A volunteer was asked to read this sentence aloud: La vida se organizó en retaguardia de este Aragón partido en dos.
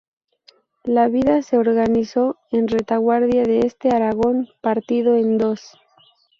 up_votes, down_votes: 0, 2